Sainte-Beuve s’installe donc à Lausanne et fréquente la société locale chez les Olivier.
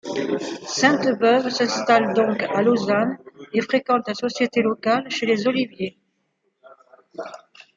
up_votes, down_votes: 2, 0